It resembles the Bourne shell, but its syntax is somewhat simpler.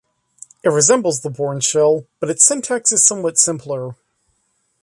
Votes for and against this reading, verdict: 2, 0, accepted